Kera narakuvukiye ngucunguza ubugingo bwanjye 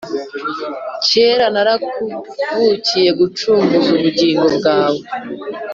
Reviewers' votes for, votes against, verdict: 1, 2, rejected